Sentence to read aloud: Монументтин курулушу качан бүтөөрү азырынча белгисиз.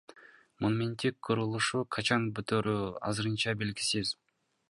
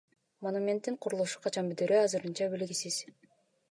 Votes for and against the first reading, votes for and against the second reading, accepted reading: 1, 2, 2, 1, second